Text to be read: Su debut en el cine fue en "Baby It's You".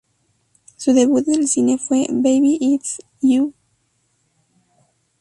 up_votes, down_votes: 0, 4